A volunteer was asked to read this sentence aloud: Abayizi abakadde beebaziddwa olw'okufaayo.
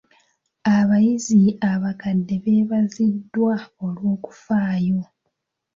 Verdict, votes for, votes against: accepted, 2, 0